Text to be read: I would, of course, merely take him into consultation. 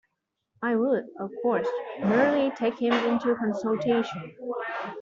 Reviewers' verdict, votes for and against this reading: rejected, 0, 2